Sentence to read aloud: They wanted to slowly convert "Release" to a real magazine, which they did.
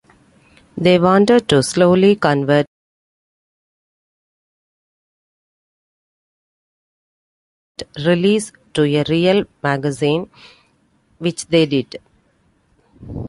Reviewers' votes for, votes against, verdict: 0, 2, rejected